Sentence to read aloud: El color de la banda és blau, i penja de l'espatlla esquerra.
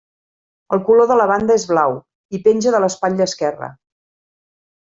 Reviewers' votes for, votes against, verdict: 3, 0, accepted